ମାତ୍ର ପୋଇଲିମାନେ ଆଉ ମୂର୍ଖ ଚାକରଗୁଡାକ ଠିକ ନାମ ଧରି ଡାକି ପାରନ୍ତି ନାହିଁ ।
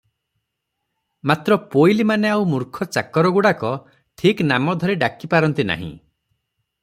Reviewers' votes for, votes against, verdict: 3, 0, accepted